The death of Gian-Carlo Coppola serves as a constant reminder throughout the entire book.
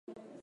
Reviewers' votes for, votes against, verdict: 0, 2, rejected